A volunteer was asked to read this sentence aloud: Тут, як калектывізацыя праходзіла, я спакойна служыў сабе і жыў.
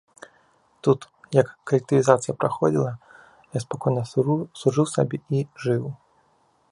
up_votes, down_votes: 1, 2